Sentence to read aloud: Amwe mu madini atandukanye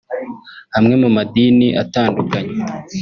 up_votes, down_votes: 1, 2